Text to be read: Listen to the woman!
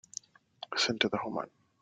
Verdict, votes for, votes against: rejected, 1, 2